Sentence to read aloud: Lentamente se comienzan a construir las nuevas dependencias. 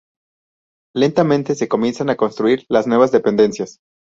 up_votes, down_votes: 6, 0